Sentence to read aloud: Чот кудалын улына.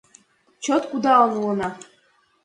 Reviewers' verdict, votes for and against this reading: accepted, 2, 0